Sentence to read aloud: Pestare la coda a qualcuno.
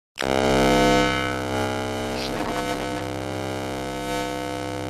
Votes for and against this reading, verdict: 0, 2, rejected